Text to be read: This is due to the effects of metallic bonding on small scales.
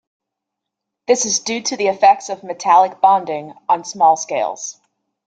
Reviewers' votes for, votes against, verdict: 2, 0, accepted